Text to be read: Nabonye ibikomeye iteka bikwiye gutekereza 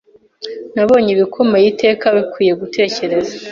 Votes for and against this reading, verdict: 2, 0, accepted